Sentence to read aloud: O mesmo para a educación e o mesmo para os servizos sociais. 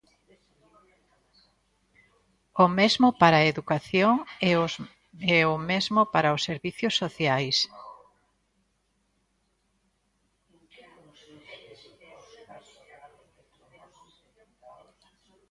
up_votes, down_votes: 0, 2